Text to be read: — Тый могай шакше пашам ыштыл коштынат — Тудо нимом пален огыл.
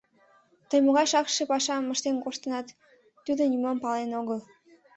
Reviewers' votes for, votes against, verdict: 2, 1, accepted